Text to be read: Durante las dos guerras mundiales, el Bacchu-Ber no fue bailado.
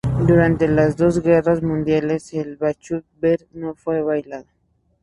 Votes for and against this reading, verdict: 2, 0, accepted